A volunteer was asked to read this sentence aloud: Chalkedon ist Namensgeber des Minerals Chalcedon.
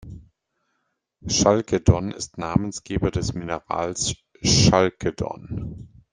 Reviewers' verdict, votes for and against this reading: rejected, 1, 2